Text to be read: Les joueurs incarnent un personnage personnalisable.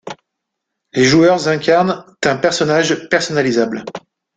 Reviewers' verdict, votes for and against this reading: rejected, 1, 2